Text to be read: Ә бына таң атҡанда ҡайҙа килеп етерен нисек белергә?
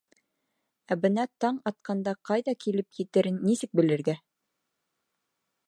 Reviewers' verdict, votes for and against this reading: accepted, 2, 0